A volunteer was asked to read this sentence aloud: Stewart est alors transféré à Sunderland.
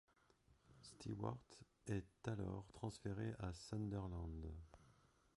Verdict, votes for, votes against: rejected, 0, 2